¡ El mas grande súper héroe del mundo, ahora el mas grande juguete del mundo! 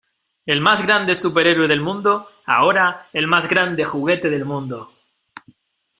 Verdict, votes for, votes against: accepted, 2, 0